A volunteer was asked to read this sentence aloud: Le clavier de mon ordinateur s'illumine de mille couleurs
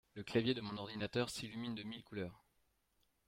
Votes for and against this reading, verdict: 1, 2, rejected